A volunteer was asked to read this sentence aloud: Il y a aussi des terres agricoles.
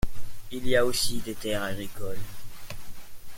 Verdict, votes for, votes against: accepted, 2, 1